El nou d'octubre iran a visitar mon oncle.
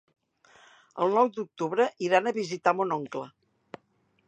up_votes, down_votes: 3, 0